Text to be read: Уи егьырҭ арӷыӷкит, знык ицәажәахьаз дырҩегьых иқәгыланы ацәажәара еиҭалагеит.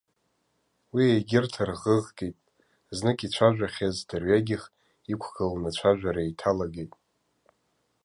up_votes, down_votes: 2, 0